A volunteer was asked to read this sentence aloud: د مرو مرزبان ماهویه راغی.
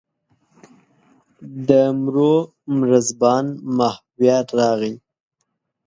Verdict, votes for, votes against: rejected, 1, 2